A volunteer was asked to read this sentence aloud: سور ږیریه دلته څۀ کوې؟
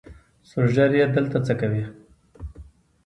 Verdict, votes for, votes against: accepted, 3, 0